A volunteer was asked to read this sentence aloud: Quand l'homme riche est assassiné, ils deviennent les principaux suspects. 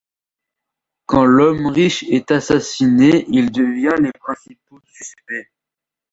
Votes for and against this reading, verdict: 0, 2, rejected